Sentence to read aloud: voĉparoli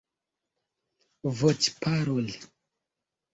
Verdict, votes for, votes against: rejected, 0, 2